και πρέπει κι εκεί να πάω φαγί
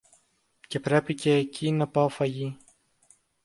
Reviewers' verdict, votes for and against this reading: accepted, 2, 0